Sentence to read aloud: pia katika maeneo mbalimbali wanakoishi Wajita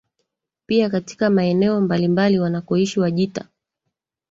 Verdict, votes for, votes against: accepted, 3, 2